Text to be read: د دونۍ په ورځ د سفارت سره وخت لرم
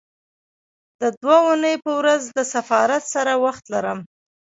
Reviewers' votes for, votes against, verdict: 0, 2, rejected